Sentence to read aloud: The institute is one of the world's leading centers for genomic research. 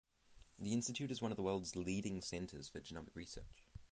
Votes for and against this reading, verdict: 3, 3, rejected